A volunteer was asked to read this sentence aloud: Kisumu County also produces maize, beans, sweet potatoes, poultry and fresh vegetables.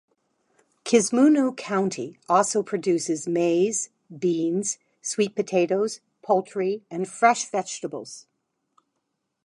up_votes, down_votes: 0, 2